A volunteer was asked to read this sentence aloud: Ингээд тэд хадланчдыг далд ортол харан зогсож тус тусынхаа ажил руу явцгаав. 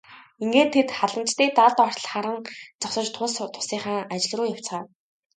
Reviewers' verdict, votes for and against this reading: accepted, 2, 0